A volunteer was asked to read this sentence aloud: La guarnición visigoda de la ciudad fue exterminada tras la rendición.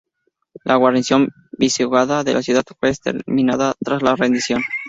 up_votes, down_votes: 0, 4